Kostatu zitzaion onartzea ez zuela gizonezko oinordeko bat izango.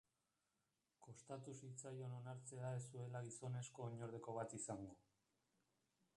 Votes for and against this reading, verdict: 1, 2, rejected